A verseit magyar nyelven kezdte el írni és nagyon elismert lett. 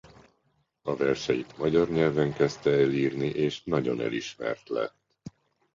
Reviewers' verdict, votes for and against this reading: accepted, 2, 0